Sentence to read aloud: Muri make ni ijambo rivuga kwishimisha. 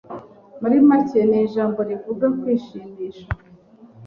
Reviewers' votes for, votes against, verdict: 3, 0, accepted